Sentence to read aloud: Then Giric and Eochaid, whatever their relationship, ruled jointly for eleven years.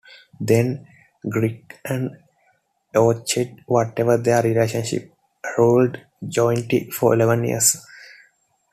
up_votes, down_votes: 2, 1